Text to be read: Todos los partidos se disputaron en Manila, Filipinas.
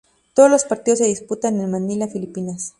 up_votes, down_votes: 0, 2